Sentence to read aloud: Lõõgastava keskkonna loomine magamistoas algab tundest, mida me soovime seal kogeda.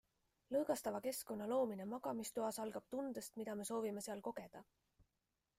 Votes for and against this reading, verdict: 2, 0, accepted